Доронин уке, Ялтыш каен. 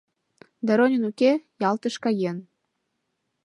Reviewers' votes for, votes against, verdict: 2, 0, accepted